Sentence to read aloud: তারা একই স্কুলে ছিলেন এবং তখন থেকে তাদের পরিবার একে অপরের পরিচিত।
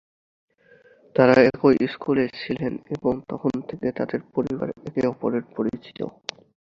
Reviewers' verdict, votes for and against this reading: accepted, 5, 3